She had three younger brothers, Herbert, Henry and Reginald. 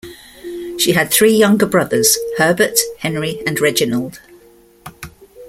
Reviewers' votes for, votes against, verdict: 2, 0, accepted